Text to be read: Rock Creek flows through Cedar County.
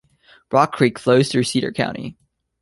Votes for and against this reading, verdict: 2, 1, accepted